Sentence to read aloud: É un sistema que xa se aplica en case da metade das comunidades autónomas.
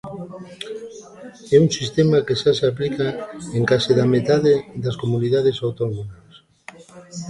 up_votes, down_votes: 1, 2